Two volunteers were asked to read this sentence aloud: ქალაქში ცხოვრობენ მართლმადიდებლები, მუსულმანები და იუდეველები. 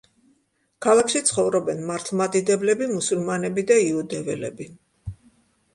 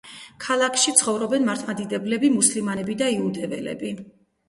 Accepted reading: first